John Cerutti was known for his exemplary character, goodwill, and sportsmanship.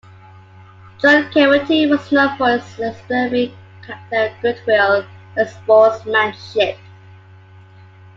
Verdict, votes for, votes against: rejected, 1, 2